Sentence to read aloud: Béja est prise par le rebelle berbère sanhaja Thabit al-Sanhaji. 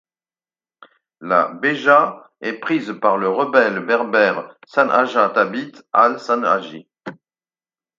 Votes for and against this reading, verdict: 2, 4, rejected